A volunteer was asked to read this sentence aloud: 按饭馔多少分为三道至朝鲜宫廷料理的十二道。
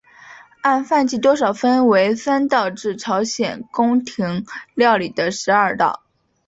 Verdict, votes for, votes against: accepted, 5, 0